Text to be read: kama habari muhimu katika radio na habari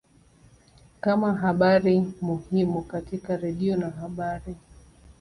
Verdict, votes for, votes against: rejected, 1, 2